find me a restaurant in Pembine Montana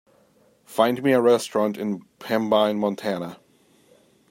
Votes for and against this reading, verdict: 2, 0, accepted